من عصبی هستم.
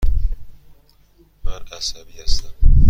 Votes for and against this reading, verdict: 2, 0, accepted